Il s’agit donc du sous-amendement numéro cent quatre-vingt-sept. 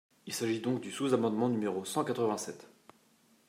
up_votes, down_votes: 2, 0